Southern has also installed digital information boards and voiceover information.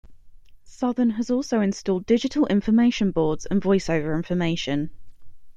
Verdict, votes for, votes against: accepted, 2, 0